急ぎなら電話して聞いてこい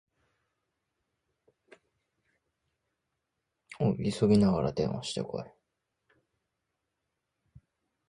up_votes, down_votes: 4, 6